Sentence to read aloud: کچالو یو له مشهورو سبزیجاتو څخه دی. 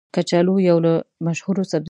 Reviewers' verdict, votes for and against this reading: rejected, 0, 2